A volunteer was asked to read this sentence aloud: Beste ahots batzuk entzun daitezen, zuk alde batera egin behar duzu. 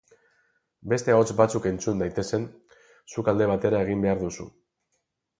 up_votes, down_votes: 8, 0